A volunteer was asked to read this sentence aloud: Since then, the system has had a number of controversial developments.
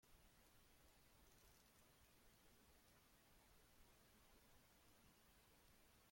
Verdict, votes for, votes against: rejected, 0, 2